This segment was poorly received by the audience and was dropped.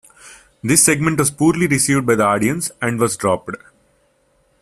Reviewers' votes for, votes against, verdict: 2, 1, accepted